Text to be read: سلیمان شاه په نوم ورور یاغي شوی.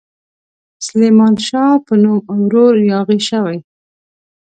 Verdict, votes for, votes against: accepted, 2, 0